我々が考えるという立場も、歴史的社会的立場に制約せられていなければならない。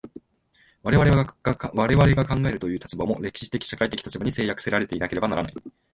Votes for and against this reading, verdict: 1, 2, rejected